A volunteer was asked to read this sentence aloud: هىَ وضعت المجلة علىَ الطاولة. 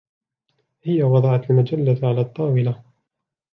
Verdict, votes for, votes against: accepted, 2, 1